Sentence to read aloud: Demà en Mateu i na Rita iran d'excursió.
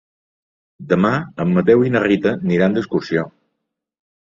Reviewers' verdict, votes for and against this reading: rejected, 0, 2